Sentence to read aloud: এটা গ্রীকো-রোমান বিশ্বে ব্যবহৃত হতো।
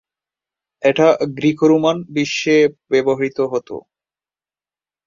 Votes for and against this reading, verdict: 2, 0, accepted